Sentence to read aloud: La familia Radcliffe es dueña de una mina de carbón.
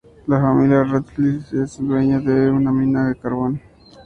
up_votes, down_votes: 0, 2